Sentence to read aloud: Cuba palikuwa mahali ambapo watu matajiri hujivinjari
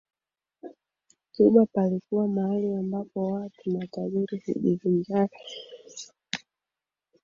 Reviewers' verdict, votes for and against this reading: rejected, 0, 2